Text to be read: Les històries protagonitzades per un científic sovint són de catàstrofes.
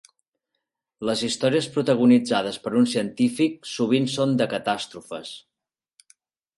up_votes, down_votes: 4, 0